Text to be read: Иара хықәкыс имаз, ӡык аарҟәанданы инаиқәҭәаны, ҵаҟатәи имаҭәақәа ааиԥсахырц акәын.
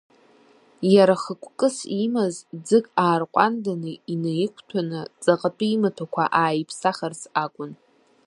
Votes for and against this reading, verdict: 0, 2, rejected